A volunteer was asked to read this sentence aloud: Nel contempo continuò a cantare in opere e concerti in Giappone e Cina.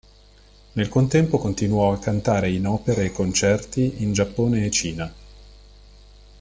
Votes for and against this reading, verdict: 1, 2, rejected